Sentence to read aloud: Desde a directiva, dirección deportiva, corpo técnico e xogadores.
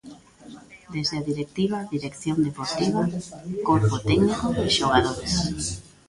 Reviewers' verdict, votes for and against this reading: rejected, 1, 2